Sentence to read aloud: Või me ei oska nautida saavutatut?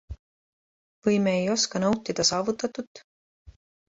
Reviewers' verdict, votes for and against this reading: accepted, 2, 0